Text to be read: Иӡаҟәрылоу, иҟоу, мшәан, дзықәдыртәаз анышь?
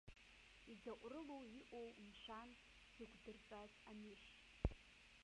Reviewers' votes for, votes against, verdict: 1, 2, rejected